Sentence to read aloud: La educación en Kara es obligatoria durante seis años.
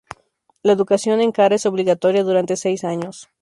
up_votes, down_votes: 2, 0